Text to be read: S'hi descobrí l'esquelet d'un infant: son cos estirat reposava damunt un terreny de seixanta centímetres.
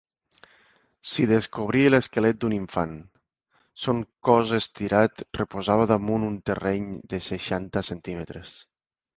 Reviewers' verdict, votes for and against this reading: accepted, 2, 0